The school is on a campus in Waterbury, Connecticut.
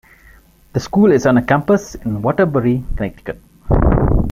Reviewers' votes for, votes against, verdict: 3, 1, accepted